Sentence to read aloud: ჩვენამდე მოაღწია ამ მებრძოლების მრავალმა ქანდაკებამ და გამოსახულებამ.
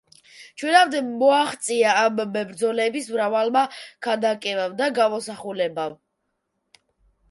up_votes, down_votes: 0, 2